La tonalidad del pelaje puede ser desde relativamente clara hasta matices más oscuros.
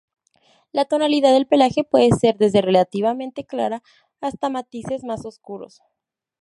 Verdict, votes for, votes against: accepted, 4, 0